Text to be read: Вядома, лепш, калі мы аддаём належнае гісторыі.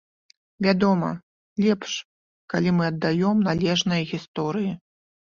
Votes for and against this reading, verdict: 2, 0, accepted